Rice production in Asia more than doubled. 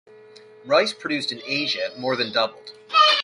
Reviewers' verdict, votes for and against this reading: rejected, 1, 2